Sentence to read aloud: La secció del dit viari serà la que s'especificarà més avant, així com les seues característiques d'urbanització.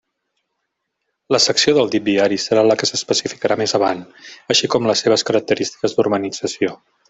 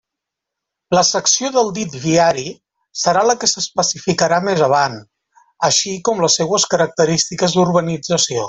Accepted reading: second